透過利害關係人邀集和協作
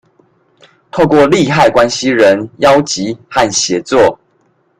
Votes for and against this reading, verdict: 2, 0, accepted